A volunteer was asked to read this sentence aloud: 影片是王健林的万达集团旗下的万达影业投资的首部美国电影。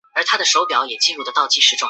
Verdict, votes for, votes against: rejected, 0, 3